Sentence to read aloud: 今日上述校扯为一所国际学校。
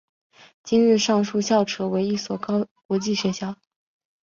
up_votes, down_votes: 2, 3